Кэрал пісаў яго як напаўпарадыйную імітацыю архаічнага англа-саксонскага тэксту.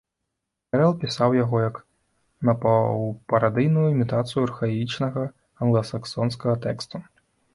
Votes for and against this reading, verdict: 1, 2, rejected